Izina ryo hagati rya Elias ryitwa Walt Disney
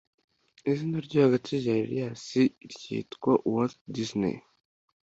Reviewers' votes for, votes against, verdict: 2, 0, accepted